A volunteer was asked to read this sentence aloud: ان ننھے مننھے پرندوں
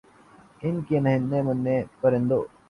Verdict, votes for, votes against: rejected, 0, 2